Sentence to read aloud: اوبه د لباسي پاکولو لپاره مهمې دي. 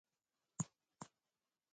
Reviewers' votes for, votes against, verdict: 0, 2, rejected